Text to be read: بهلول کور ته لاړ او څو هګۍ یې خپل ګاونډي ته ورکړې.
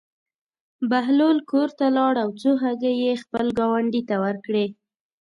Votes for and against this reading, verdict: 0, 2, rejected